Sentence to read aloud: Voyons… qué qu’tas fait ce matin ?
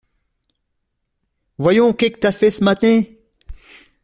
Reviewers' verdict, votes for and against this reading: rejected, 0, 2